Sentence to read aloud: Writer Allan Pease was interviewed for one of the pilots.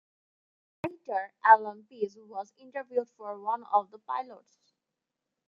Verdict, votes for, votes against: rejected, 0, 2